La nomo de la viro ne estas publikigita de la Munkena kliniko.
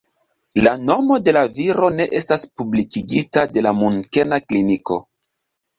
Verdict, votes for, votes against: accepted, 2, 0